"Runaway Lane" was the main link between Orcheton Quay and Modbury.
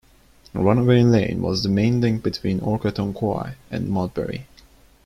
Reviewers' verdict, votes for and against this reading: rejected, 0, 2